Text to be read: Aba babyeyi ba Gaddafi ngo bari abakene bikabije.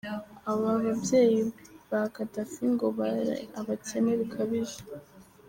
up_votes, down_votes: 3, 2